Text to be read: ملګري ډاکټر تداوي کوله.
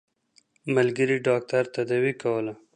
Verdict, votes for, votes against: accepted, 2, 0